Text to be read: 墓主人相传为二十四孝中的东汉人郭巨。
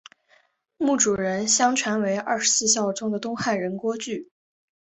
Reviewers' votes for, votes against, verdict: 2, 0, accepted